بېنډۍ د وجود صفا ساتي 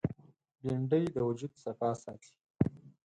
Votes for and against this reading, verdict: 4, 0, accepted